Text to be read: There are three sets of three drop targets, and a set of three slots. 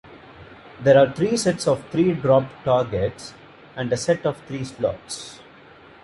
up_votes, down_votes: 2, 1